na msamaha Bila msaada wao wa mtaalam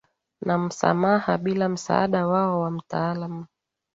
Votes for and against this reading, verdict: 2, 0, accepted